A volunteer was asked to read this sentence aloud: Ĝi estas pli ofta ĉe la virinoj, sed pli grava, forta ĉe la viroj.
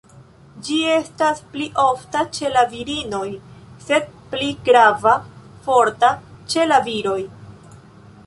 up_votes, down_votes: 1, 2